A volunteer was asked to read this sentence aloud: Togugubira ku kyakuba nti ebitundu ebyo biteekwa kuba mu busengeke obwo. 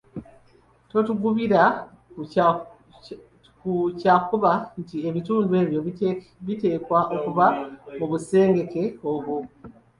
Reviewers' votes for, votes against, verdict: 0, 2, rejected